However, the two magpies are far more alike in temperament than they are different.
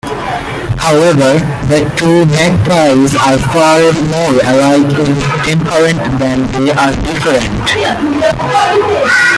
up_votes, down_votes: 1, 2